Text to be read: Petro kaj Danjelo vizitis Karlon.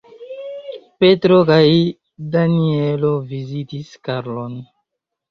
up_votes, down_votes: 1, 2